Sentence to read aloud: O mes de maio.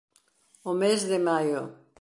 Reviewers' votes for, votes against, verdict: 2, 0, accepted